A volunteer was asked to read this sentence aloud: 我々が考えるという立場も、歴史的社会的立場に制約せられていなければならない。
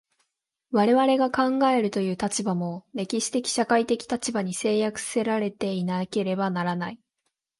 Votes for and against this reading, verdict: 2, 1, accepted